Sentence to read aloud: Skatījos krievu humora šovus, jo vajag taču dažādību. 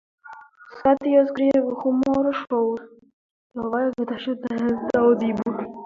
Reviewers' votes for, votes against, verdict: 0, 2, rejected